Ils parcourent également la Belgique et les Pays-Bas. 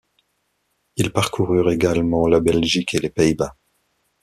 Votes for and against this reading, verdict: 1, 2, rejected